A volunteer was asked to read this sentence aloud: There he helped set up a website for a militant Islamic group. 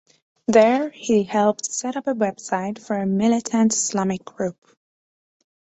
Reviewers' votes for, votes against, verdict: 2, 0, accepted